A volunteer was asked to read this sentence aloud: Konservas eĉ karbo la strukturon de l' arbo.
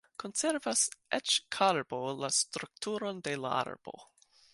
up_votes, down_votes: 1, 2